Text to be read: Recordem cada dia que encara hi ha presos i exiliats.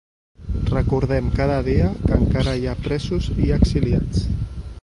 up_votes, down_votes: 1, 2